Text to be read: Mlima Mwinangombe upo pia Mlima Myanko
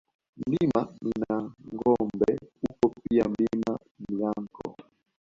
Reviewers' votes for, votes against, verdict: 2, 1, accepted